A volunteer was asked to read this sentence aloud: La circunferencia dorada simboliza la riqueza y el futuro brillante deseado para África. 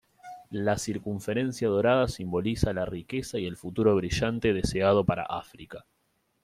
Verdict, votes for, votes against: accepted, 2, 0